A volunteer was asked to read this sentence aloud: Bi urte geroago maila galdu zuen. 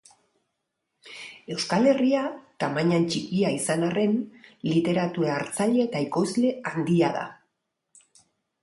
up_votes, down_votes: 0, 2